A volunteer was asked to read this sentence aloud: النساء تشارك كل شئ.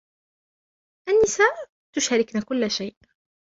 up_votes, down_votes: 0, 2